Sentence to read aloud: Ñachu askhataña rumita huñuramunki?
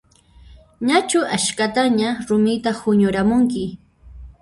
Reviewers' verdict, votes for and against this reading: rejected, 0, 2